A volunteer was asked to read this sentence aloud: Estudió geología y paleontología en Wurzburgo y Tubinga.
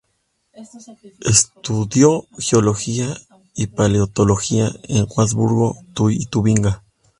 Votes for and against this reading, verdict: 0, 2, rejected